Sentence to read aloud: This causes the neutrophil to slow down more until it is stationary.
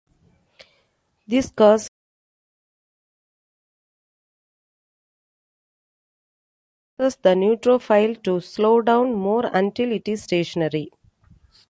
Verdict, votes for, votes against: rejected, 0, 2